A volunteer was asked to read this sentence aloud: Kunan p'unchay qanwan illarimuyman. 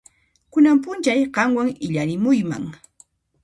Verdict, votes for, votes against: accepted, 2, 0